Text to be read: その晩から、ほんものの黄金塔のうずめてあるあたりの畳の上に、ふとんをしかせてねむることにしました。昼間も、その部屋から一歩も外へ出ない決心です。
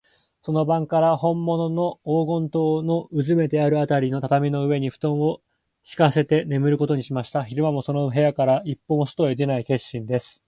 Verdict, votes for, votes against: accepted, 2, 0